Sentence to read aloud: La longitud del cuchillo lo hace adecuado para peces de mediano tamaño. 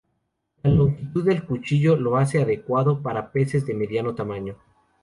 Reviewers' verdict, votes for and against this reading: rejected, 0, 2